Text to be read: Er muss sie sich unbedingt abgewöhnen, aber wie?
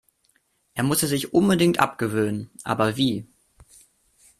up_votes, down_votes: 1, 2